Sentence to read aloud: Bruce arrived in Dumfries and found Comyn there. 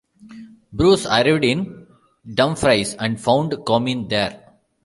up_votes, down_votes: 1, 2